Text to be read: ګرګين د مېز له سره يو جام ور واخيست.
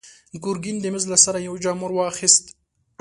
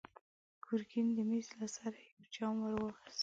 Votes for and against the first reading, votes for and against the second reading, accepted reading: 2, 0, 1, 2, first